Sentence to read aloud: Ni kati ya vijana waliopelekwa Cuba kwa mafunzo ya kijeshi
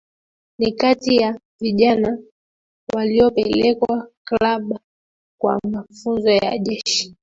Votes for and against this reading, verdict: 1, 2, rejected